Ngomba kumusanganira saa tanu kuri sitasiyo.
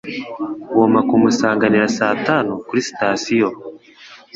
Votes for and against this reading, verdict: 2, 0, accepted